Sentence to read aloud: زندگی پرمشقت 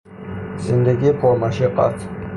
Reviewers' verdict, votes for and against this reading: rejected, 0, 6